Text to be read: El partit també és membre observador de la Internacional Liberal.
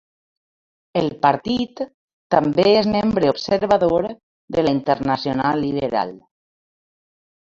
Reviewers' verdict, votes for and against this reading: rejected, 1, 2